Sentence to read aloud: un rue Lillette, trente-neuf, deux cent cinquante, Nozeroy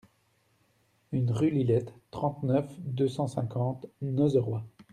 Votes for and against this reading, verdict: 1, 2, rejected